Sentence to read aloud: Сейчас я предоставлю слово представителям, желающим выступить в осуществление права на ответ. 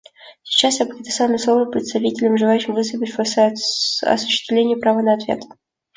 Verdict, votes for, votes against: accepted, 2, 0